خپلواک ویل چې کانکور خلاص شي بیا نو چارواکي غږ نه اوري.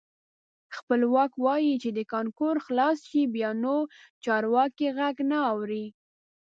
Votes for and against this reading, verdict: 1, 2, rejected